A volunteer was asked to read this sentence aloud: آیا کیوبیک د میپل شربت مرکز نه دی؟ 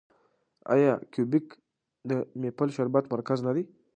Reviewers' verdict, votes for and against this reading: accepted, 2, 0